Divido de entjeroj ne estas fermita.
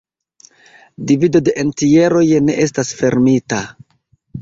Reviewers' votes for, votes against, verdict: 2, 0, accepted